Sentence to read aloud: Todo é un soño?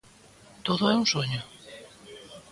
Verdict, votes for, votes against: accepted, 2, 0